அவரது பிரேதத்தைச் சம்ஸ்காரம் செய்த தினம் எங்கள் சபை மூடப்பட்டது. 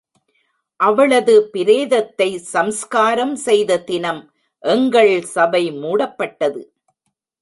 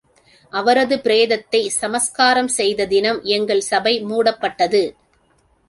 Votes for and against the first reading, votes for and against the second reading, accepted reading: 1, 2, 2, 0, second